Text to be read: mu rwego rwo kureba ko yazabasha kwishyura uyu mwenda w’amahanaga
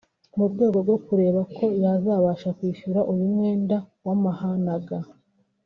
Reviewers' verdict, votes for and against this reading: rejected, 1, 2